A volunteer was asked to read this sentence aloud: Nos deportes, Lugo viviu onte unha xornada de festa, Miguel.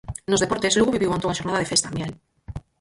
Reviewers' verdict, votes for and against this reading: rejected, 0, 4